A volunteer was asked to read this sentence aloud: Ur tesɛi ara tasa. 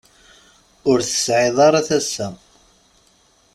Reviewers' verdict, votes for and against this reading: rejected, 1, 2